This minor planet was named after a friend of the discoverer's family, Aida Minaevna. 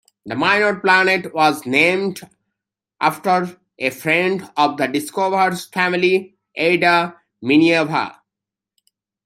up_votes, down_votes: 1, 2